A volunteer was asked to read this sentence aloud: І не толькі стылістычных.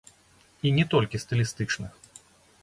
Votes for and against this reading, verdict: 0, 2, rejected